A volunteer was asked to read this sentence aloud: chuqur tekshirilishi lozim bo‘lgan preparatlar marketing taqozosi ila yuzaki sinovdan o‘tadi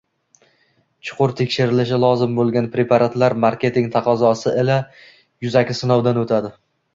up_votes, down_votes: 1, 2